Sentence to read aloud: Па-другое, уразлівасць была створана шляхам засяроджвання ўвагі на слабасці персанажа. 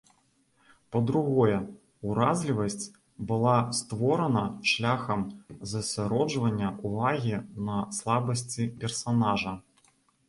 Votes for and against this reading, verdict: 2, 0, accepted